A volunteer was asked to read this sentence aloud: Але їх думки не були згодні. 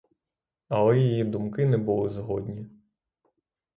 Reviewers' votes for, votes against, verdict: 0, 3, rejected